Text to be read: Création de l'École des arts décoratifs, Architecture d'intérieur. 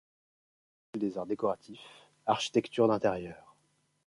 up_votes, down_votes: 0, 2